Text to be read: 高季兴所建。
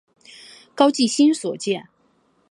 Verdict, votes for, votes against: accepted, 3, 1